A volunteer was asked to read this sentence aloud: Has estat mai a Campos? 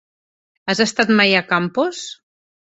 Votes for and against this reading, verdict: 3, 0, accepted